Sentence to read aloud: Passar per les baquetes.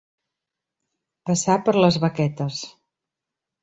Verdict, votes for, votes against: accepted, 3, 0